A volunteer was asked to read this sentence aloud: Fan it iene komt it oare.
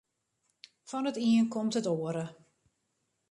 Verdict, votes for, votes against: rejected, 0, 2